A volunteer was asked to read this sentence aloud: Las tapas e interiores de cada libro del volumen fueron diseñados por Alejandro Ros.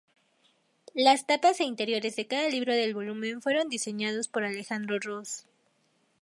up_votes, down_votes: 2, 0